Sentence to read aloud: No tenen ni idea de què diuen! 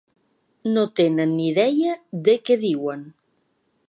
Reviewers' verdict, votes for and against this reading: rejected, 1, 2